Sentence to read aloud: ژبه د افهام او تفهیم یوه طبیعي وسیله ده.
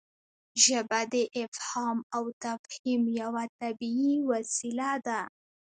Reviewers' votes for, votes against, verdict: 1, 2, rejected